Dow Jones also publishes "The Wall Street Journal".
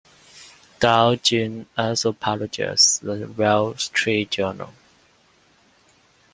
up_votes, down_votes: 0, 2